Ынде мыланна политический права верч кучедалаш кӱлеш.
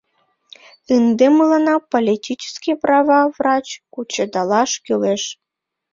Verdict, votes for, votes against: rejected, 0, 2